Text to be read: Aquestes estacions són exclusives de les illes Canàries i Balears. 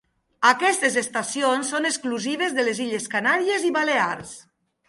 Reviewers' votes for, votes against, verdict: 2, 0, accepted